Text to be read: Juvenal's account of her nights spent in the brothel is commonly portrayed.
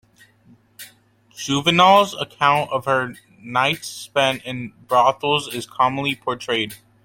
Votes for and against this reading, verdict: 2, 1, accepted